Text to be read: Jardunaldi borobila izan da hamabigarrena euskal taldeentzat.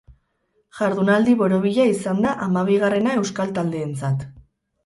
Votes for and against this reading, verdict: 2, 2, rejected